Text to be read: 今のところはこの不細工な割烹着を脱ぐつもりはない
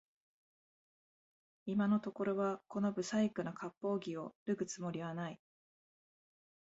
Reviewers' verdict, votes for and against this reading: accepted, 2, 1